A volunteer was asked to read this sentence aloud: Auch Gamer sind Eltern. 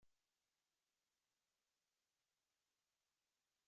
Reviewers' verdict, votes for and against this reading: rejected, 0, 2